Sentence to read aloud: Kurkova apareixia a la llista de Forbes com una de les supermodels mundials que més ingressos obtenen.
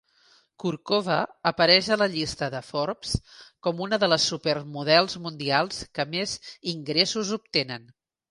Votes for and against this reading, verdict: 1, 3, rejected